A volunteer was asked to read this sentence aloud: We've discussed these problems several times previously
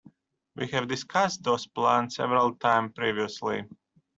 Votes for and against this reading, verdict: 0, 2, rejected